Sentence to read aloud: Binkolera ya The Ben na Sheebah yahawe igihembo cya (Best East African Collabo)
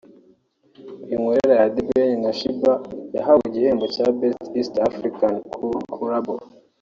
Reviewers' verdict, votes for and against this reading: rejected, 1, 2